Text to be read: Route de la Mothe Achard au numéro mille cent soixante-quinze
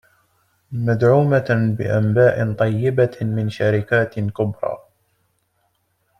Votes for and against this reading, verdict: 0, 2, rejected